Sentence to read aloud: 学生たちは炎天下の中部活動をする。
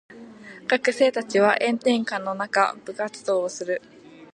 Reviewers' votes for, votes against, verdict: 2, 0, accepted